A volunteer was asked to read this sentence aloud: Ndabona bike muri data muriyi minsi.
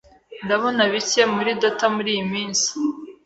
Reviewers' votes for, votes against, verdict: 3, 1, accepted